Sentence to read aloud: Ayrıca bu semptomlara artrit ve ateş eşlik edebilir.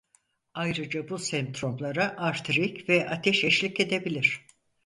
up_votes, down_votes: 0, 4